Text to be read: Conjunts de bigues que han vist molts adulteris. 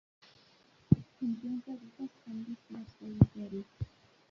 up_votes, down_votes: 1, 2